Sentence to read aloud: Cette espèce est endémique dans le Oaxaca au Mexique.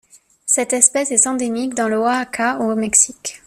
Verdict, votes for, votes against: rejected, 1, 2